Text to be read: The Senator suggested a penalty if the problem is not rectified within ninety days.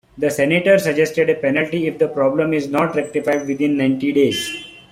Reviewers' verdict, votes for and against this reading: accepted, 3, 0